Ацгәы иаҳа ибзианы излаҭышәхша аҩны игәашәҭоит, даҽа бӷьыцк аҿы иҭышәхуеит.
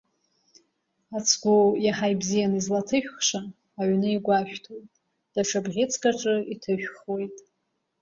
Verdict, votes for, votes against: accepted, 2, 0